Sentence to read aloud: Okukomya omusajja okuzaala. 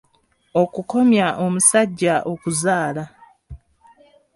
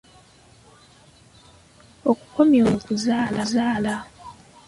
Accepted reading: first